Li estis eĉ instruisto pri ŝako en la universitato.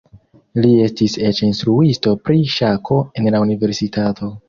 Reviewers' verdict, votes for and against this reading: rejected, 1, 2